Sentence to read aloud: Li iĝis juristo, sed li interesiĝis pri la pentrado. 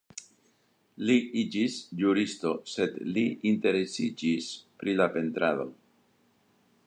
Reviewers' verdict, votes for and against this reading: rejected, 0, 2